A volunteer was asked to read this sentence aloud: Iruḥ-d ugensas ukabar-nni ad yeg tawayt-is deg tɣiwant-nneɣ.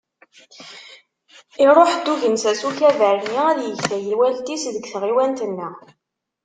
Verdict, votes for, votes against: rejected, 1, 2